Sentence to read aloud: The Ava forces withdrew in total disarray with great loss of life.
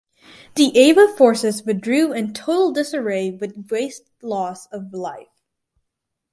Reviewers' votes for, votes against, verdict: 2, 4, rejected